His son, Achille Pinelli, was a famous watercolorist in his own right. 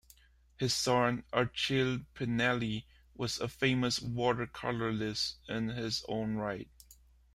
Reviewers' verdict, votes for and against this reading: rejected, 0, 2